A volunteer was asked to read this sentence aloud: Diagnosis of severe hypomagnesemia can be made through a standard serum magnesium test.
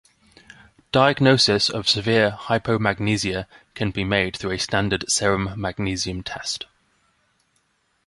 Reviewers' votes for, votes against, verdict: 2, 0, accepted